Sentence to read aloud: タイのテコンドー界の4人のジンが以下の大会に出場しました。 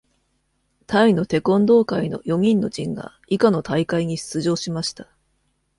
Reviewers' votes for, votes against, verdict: 0, 2, rejected